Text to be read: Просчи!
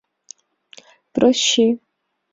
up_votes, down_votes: 0, 4